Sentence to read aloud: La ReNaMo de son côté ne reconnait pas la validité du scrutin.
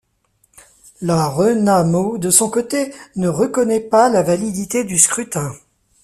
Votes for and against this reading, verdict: 2, 0, accepted